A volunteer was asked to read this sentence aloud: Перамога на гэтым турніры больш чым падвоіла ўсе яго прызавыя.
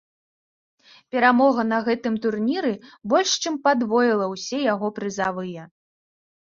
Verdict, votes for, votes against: accepted, 2, 0